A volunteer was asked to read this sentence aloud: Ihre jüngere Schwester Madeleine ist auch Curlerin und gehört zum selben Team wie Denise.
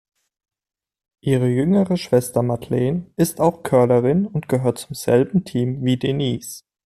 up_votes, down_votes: 2, 0